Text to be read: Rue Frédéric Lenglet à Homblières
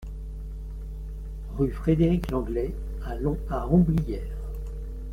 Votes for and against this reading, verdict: 0, 2, rejected